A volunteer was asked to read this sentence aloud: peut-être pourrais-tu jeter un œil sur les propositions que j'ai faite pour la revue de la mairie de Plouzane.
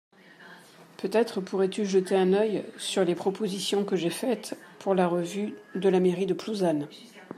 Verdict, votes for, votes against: accepted, 2, 0